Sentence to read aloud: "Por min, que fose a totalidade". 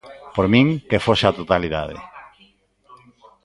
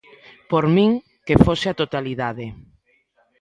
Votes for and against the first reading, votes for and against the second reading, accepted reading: 0, 2, 2, 0, second